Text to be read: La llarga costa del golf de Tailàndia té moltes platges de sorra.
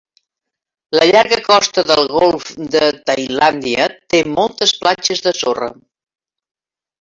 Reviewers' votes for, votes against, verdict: 3, 1, accepted